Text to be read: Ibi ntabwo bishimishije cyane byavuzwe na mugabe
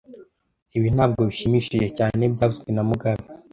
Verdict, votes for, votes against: accepted, 2, 0